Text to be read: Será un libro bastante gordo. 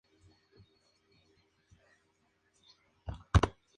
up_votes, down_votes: 0, 2